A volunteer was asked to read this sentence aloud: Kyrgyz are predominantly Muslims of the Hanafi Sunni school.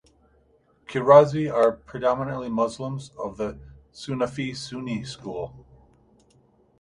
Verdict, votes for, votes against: rejected, 0, 2